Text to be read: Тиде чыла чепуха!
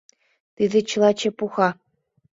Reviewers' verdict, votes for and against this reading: accepted, 2, 0